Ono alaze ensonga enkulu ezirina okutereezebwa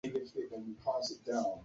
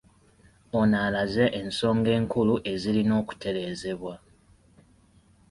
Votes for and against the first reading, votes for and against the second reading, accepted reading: 0, 2, 2, 0, second